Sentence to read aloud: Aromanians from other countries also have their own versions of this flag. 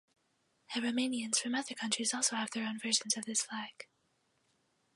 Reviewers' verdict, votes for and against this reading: accepted, 4, 2